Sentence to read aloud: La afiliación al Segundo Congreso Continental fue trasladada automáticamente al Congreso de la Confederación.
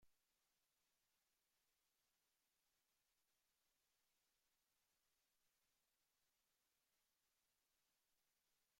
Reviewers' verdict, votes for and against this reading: rejected, 0, 2